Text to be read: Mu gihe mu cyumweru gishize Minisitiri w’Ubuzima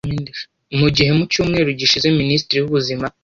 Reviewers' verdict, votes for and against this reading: rejected, 1, 2